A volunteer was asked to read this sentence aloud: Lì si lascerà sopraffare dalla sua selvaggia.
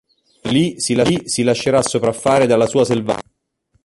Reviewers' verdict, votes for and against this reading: rejected, 0, 2